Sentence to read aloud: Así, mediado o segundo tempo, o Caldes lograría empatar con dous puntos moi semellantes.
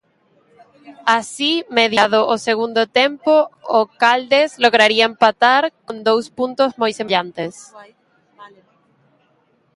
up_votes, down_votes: 2, 1